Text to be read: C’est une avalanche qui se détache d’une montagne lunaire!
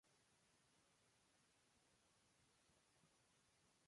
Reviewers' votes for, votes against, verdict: 1, 2, rejected